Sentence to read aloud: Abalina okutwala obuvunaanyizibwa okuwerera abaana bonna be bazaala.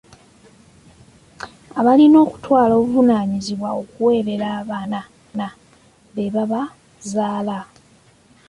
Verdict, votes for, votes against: rejected, 0, 2